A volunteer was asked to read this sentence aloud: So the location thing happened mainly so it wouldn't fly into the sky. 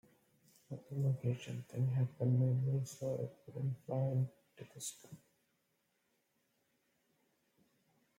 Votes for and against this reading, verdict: 0, 2, rejected